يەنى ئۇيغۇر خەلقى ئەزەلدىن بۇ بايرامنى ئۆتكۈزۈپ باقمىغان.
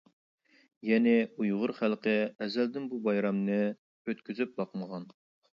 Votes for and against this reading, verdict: 2, 0, accepted